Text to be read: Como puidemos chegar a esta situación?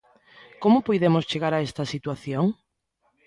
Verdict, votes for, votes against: accepted, 2, 0